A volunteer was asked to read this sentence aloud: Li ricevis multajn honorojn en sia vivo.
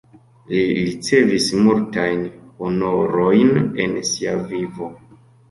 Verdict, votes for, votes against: accepted, 2, 0